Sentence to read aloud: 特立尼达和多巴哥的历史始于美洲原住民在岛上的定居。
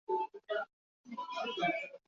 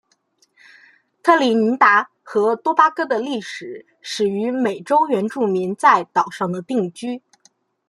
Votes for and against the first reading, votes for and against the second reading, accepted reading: 1, 2, 2, 1, second